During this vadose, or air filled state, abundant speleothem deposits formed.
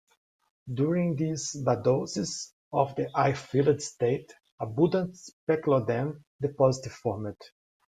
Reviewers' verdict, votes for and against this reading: accepted, 2, 0